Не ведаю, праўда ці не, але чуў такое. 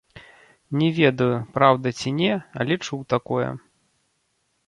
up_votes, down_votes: 1, 2